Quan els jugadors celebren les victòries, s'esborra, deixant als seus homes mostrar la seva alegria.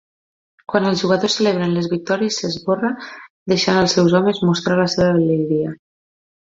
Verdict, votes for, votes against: rejected, 1, 2